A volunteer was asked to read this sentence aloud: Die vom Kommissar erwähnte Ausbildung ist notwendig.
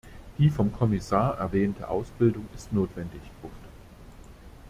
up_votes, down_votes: 0, 2